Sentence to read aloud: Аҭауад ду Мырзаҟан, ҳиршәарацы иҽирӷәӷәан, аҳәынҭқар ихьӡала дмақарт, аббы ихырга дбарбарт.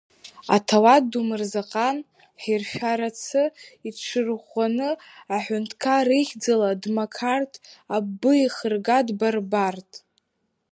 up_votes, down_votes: 0, 2